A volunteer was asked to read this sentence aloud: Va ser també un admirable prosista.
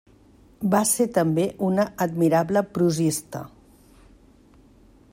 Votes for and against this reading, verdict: 0, 2, rejected